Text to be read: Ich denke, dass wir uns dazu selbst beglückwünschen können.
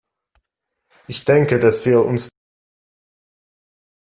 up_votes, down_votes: 0, 2